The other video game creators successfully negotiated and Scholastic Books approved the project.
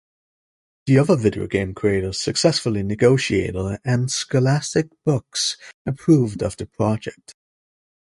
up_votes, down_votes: 1, 2